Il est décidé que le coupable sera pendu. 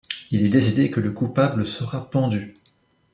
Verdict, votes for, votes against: accepted, 2, 0